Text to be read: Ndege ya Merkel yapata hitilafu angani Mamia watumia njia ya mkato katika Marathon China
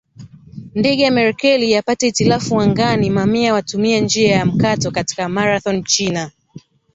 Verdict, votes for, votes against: rejected, 0, 2